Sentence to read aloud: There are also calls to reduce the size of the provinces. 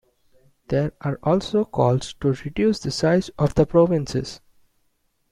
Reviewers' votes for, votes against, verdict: 2, 0, accepted